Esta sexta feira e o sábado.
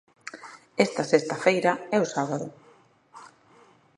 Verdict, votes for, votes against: accepted, 2, 1